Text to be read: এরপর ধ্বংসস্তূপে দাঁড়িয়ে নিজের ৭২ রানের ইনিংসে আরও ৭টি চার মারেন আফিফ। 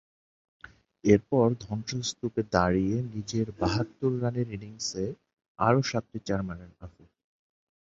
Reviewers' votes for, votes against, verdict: 0, 2, rejected